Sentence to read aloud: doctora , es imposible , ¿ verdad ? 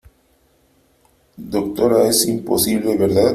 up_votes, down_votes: 2, 0